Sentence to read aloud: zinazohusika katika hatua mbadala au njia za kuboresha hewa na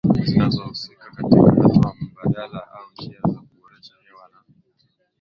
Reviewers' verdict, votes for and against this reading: rejected, 0, 2